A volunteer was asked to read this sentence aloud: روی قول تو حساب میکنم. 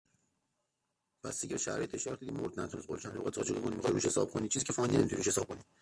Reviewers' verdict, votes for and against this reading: rejected, 0, 2